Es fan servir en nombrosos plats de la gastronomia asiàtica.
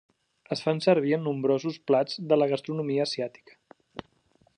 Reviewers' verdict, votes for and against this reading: accepted, 3, 0